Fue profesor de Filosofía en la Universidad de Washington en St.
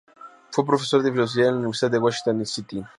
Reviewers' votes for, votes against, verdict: 4, 4, rejected